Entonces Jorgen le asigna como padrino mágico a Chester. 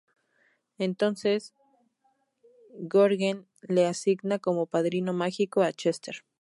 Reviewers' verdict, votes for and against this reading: rejected, 2, 2